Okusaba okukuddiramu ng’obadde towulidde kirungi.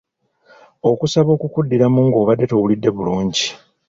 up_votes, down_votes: 1, 2